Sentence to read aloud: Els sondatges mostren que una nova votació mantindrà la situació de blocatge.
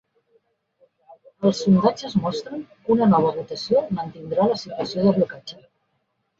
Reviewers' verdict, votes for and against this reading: rejected, 2, 3